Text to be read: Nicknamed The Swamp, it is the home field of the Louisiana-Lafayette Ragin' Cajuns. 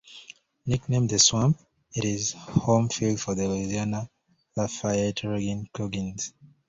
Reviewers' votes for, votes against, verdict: 0, 2, rejected